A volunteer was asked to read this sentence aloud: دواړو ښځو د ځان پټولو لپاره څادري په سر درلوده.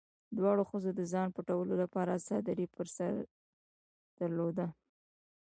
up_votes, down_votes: 2, 0